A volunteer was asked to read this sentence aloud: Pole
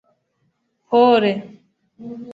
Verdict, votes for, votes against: rejected, 1, 2